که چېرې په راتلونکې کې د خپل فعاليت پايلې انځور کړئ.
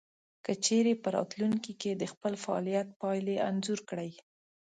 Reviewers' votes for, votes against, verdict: 2, 0, accepted